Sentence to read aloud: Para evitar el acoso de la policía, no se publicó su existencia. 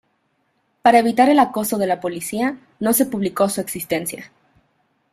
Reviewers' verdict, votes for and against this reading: rejected, 0, 2